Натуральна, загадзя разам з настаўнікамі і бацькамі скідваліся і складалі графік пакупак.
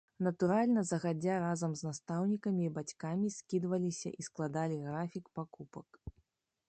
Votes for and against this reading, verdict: 0, 2, rejected